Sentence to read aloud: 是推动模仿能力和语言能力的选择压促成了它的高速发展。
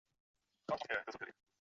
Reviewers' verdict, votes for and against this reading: rejected, 0, 3